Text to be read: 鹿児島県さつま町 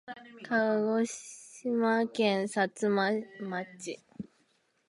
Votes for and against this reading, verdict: 2, 3, rejected